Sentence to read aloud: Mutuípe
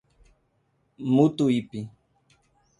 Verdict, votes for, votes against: accepted, 2, 0